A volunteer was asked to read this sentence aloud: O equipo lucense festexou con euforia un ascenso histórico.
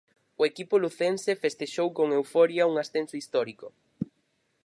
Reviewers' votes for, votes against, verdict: 4, 0, accepted